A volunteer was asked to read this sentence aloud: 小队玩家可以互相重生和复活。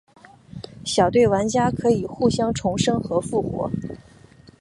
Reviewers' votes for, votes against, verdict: 2, 0, accepted